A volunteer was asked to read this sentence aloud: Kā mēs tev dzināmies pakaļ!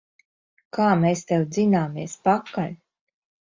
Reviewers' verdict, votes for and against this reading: rejected, 0, 2